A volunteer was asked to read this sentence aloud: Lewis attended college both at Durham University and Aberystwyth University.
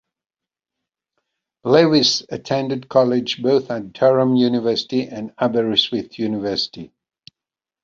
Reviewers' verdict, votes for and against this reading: accepted, 2, 1